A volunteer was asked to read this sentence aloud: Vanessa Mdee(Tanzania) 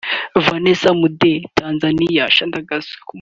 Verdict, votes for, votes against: accepted, 2, 1